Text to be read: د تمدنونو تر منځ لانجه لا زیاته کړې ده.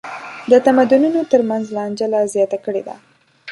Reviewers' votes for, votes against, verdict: 1, 2, rejected